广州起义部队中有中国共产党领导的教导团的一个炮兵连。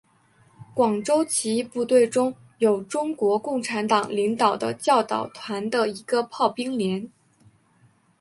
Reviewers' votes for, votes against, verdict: 3, 1, accepted